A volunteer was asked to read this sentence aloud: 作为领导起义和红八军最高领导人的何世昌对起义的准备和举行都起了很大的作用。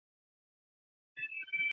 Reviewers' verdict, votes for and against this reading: rejected, 0, 5